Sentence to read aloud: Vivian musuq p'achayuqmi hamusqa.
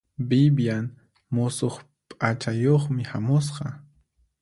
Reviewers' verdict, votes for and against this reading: accepted, 4, 0